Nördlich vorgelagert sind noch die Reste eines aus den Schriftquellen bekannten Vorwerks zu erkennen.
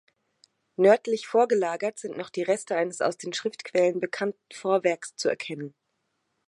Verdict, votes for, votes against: accepted, 2, 1